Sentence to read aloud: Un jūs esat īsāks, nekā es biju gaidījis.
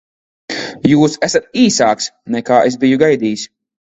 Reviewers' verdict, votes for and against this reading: rejected, 2, 3